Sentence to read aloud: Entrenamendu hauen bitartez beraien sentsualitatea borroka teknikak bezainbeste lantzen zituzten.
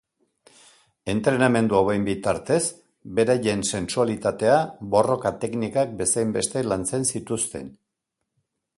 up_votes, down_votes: 2, 0